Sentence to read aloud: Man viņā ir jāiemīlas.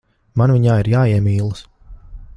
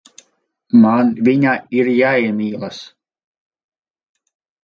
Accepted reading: first